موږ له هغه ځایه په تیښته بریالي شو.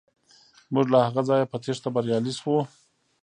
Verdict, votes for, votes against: rejected, 0, 2